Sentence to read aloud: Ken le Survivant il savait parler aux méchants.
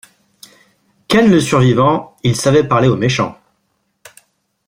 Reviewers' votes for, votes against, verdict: 2, 1, accepted